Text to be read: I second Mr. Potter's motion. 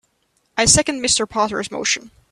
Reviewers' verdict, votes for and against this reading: accepted, 2, 0